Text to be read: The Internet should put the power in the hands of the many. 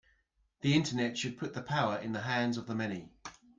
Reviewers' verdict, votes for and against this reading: accepted, 2, 0